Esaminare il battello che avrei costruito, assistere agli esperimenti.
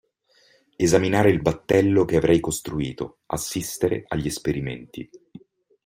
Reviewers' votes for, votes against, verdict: 2, 0, accepted